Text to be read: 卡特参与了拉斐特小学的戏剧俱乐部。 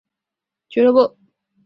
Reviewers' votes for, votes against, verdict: 2, 4, rejected